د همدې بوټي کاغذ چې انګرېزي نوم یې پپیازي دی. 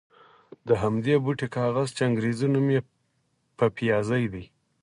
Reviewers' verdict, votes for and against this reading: accepted, 4, 0